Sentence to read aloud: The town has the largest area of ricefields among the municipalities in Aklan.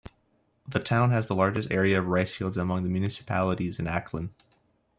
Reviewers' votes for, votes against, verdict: 2, 0, accepted